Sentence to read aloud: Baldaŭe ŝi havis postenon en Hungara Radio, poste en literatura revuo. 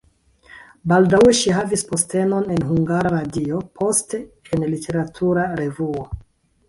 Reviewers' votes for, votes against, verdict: 1, 2, rejected